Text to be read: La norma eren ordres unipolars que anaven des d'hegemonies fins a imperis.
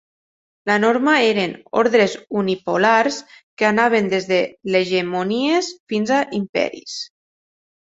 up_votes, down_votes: 0, 2